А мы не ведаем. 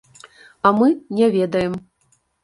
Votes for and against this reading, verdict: 2, 0, accepted